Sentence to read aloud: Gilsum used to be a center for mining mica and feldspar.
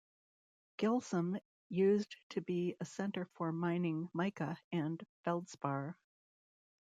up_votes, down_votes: 2, 0